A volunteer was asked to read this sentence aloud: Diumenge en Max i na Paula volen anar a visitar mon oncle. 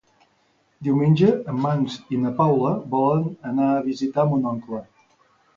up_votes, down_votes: 0, 2